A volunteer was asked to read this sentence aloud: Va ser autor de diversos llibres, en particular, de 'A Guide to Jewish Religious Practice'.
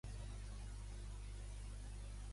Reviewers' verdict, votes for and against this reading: rejected, 1, 2